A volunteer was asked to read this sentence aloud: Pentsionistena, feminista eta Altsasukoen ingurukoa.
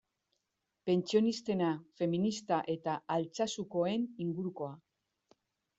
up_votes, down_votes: 2, 0